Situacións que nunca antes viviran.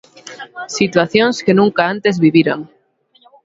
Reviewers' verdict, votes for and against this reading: accepted, 13, 3